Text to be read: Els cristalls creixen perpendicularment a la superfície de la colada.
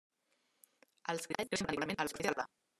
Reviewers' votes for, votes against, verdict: 1, 2, rejected